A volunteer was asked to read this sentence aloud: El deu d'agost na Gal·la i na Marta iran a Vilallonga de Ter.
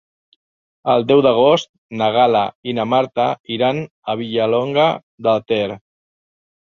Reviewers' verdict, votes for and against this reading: rejected, 0, 2